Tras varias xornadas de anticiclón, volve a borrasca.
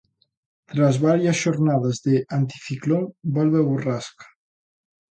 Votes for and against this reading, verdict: 2, 0, accepted